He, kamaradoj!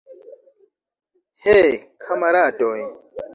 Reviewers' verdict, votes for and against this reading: rejected, 2, 3